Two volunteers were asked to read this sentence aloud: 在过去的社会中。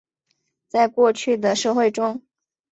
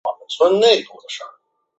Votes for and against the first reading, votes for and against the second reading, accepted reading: 2, 0, 0, 2, first